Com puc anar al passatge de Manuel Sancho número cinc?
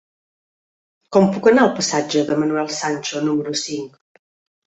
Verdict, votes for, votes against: accepted, 5, 0